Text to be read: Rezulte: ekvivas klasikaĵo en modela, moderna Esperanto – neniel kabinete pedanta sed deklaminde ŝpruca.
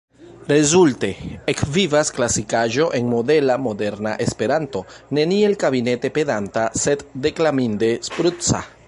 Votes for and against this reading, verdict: 1, 2, rejected